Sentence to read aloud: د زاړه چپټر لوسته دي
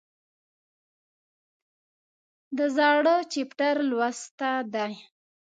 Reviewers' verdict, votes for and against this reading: rejected, 0, 2